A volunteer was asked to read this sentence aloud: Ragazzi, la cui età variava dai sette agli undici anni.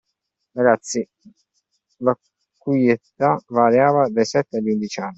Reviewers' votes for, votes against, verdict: 0, 2, rejected